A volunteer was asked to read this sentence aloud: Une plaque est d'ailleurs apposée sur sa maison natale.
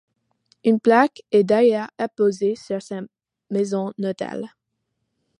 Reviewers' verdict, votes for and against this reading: rejected, 1, 2